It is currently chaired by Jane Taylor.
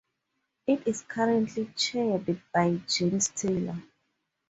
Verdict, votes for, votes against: accepted, 4, 0